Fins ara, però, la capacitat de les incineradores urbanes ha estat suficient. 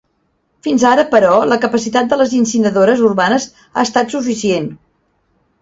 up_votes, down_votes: 1, 2